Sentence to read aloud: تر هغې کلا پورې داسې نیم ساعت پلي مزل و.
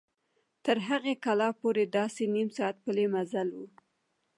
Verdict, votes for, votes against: rejected, 1, 2